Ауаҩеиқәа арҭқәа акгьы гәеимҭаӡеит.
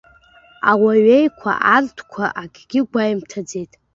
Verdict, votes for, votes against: accepted, 3, 0